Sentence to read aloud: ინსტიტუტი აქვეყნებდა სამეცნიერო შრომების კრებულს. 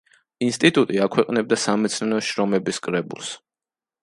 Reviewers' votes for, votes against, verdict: 1, 2, rejected